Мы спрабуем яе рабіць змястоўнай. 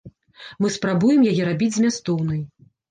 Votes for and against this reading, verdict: 2, 0, accepted